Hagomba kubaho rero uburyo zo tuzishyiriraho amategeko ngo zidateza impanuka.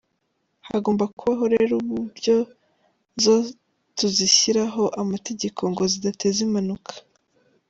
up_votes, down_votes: 2, 0